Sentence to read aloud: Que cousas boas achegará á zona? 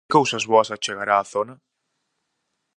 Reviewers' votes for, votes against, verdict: 0, 4, rejected